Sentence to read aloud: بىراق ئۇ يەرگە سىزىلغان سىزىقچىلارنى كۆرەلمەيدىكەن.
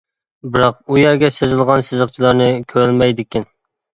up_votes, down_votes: 2, 0